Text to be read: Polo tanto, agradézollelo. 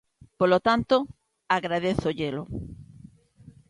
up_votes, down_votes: 2, 0